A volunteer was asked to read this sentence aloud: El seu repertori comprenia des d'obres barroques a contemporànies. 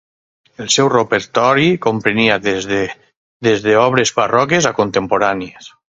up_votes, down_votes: 0, 4